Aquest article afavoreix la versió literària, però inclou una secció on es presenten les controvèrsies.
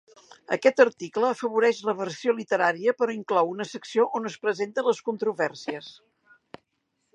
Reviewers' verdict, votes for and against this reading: accepted, 2, 0